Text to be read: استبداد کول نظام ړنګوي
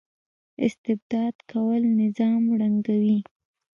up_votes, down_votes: 1, 2